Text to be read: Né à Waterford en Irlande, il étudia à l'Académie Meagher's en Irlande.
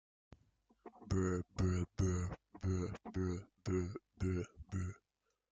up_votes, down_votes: 0, 2